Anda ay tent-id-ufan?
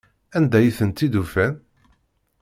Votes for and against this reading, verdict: 2, 0, accepted